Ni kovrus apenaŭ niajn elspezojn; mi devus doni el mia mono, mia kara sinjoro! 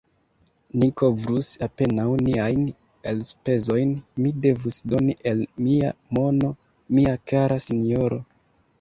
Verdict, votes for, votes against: accepted, 2, 0